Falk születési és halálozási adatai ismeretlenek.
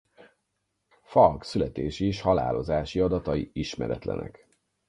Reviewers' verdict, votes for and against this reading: rejected, 0, 4